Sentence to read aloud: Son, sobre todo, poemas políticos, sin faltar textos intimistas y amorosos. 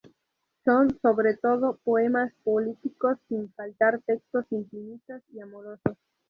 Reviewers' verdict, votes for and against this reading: rejected, 0, 2